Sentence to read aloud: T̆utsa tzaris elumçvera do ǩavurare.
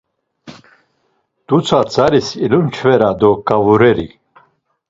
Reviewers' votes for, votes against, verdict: 1, 2, rejected